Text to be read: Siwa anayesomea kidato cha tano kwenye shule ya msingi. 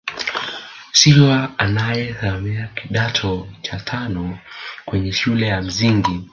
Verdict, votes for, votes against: rejected, 1, 2